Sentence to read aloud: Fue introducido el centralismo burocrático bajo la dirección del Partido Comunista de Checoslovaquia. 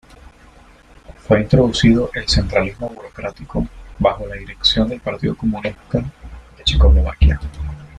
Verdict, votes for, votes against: rejected, 0, 2